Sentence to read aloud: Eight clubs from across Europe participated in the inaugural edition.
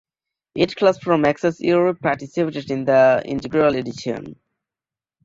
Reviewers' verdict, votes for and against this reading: rejected, 1, 2